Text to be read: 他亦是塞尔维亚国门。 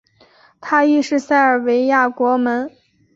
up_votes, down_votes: 5, 0